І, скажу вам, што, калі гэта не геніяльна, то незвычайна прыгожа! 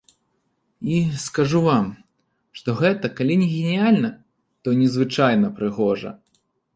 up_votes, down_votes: 0, 2